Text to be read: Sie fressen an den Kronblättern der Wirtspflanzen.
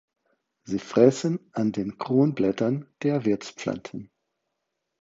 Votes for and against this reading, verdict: 4, 2, accepted